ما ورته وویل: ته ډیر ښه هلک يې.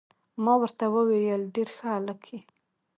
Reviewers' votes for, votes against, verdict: 1, 2, rejected